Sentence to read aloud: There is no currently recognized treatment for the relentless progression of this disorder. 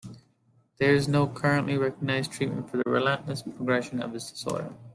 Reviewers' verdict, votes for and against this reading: accepted, 2, 0